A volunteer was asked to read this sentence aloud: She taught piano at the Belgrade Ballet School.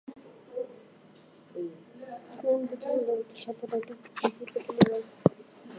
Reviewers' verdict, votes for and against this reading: rejected, 0, 2